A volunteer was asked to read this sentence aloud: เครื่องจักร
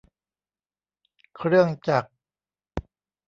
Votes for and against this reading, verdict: 1, 2, rejected